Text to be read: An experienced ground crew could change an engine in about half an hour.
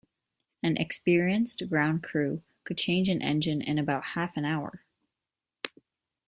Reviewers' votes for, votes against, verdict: 2, 0, accepted